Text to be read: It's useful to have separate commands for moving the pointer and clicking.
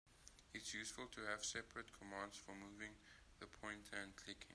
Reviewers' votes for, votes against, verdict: 2, 0, accepted